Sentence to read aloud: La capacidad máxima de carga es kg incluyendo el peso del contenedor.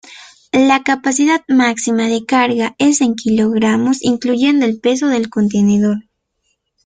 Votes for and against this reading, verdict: 0, 2, rejected